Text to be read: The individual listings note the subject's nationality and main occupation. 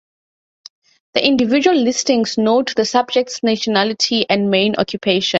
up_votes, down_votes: 2, 0